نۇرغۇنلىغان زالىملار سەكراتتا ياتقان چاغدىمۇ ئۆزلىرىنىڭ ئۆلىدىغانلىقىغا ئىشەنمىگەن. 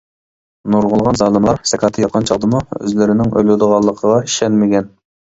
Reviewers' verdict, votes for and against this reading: rejected, 1, 2